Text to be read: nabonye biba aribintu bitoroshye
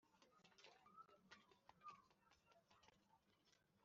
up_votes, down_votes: 2, 1